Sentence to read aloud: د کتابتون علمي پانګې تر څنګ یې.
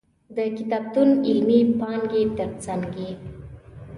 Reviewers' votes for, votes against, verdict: 2, 0, accepted